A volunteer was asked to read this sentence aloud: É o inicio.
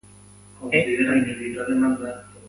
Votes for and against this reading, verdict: 0, 2, rejected